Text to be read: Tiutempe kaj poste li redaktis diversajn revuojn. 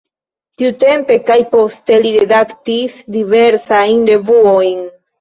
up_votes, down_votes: 1, 2